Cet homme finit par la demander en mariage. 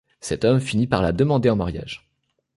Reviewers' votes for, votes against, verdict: 2, 0, accepted